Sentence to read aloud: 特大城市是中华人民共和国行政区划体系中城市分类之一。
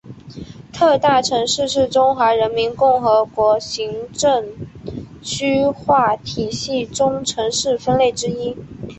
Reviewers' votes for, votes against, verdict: 0, 2, rejected